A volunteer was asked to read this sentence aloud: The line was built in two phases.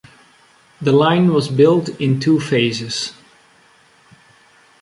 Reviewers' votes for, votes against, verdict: 2, 0, accepted